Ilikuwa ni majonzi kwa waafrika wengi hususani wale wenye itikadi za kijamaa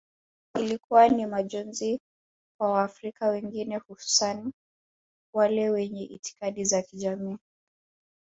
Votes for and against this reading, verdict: 1, 2, rejected